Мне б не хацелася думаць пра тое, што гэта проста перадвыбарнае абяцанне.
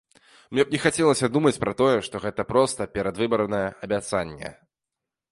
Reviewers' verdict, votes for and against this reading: accepted, 2, 0